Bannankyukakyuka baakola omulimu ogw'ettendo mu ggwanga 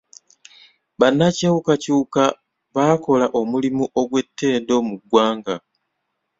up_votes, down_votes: 1, 2